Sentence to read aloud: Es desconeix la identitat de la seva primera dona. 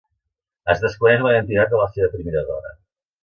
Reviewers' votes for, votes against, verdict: 2, 0, accepted